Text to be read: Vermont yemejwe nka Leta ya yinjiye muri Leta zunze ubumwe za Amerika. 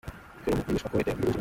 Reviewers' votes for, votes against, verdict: 0, 2, rejected